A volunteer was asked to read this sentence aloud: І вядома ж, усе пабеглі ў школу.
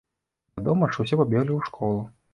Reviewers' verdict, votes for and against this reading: rejected, 0, 2